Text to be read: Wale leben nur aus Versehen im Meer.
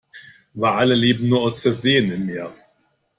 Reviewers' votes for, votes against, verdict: 2, 0, accepted